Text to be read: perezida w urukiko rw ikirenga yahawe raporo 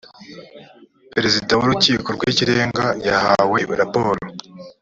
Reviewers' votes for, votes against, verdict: 2, 0, accepted